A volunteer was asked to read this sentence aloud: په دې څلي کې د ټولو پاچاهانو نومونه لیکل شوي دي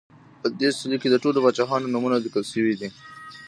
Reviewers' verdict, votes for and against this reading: accepted, 2, 1